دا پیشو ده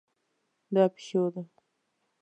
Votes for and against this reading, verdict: 2, 0, accepted